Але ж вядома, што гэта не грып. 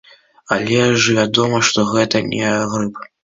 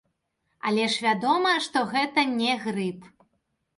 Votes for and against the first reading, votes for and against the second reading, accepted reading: 1, 2, 2, 1, second